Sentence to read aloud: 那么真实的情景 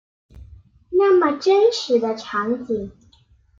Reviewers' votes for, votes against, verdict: 0, 2, rejected